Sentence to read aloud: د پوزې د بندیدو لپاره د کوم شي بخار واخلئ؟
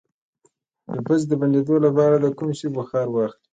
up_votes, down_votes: 2, 0